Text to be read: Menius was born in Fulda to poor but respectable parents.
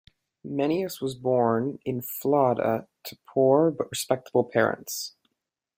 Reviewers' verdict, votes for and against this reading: rejected, 1, 2